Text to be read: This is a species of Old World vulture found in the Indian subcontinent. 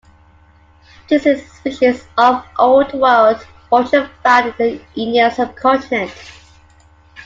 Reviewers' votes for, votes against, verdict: 1, 2, rejected